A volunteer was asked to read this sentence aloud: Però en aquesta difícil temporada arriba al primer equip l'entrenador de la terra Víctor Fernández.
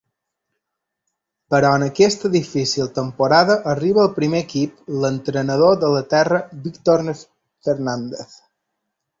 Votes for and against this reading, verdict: 2, 1, accepted